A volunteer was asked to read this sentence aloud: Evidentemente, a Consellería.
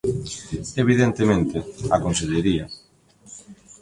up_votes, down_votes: 2, 0